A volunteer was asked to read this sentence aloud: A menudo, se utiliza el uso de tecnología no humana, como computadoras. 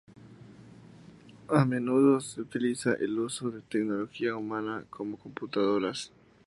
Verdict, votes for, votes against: rejected, 0, 2